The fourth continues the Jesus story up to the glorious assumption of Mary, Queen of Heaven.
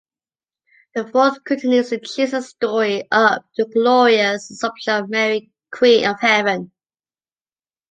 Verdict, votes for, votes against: rejected, 0, 2